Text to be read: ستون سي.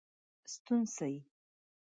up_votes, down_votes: 1, 2